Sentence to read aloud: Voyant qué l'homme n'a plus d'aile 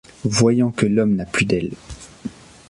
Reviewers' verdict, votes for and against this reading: rejected, 0, 2